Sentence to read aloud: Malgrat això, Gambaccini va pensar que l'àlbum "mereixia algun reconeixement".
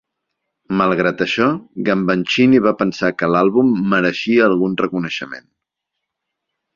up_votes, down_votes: 0, 2